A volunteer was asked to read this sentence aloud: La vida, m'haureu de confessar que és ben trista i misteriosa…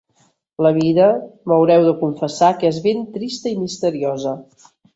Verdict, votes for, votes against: accepted, 3, 0